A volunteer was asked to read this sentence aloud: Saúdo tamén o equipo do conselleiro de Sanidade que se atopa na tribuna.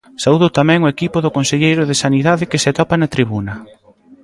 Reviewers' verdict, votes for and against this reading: rejected, 0, 2